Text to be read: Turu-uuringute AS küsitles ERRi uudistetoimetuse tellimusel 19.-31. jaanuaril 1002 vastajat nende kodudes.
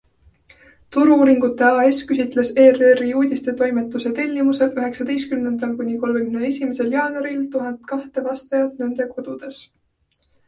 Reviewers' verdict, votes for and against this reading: rejected, 0, 2